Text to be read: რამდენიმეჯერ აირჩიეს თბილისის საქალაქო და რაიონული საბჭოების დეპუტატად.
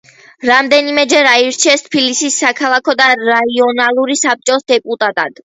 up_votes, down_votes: 0, 2